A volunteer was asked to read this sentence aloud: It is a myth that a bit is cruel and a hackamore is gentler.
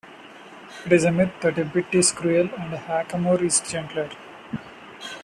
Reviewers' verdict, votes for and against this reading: accepted, 2, 0